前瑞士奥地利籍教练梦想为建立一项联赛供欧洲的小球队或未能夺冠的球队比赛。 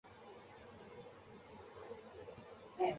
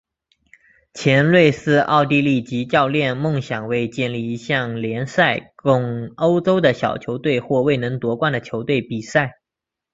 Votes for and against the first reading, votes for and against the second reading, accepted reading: 0, 2, 2, 1, second